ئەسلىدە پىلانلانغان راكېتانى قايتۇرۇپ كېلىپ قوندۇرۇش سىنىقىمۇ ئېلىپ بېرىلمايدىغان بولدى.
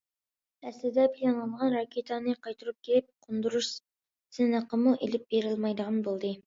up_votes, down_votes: 2, 0